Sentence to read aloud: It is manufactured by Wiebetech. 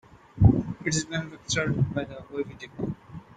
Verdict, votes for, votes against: rejected, 1, 2